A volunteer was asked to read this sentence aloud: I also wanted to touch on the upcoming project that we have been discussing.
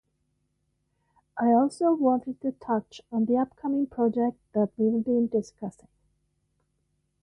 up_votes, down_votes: 0, 3